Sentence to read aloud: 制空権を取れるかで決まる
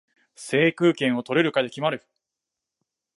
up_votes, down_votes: 2, 1